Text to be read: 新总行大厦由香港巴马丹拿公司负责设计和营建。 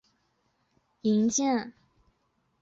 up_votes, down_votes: 1, 2